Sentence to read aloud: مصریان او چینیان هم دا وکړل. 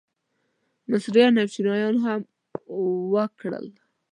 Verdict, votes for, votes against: rejected, 1, 2